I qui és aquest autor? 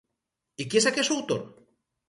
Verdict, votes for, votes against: rejected, 0, 4